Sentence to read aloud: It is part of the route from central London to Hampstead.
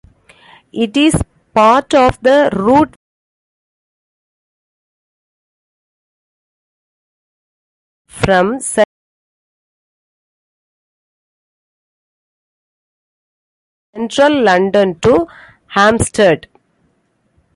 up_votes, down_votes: 0, 2